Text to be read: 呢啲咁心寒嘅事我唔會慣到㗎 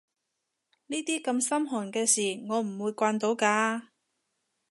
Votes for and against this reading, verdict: 2, 0, accepted